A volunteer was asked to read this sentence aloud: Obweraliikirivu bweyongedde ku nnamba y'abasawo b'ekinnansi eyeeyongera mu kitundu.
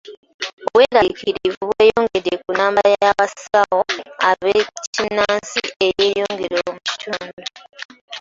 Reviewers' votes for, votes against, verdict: 2, 0, accepted